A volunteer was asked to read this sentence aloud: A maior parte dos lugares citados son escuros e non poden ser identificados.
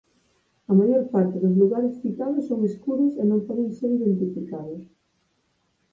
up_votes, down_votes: 2, 4